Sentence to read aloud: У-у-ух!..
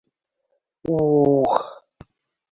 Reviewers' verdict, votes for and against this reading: rejected, 1, 2